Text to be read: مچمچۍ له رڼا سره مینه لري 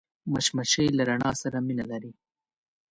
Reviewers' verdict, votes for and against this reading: accepted, 2, 0